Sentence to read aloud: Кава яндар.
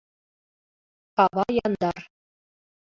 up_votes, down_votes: 2, 1